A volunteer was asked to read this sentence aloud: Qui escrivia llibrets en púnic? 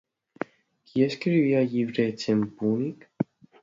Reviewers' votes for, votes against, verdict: 2, 0, accepted